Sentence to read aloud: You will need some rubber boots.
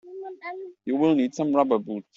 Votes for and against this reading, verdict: 0, 2, rejected